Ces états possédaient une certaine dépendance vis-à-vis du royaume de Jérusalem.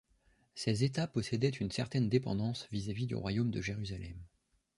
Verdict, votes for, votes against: accepted, 2, 0